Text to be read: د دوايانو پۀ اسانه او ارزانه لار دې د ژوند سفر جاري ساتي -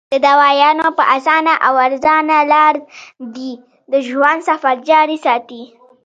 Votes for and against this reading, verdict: 2, 1, accepted